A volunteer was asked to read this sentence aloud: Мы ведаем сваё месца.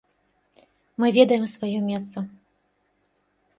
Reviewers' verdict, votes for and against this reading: accepted, 2, 0